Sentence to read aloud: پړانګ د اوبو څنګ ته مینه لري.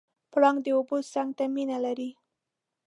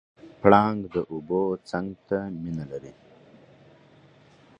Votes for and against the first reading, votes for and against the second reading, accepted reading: 0, 2, 6, 0, second